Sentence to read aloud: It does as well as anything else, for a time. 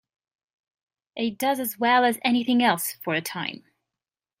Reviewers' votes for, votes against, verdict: 2, 1, accepted